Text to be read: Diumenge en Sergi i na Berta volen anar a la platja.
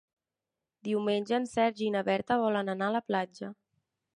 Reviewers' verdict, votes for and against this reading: accepted, 3, 0